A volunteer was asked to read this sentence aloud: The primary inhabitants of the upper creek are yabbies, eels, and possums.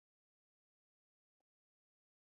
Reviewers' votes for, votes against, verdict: 0, 2, rejected